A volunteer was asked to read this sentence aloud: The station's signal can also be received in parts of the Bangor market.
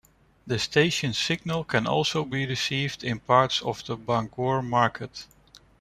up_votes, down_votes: 2, 0